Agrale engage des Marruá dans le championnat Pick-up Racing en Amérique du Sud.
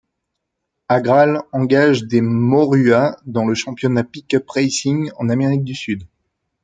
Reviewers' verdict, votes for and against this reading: rejected, 1, 2